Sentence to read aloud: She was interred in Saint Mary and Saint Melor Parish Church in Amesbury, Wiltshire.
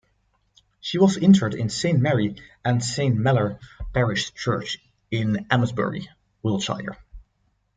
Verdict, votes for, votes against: accepted, 2, 0